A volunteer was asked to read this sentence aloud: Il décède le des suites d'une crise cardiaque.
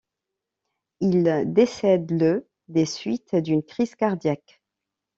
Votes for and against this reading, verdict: 2, 0, accepted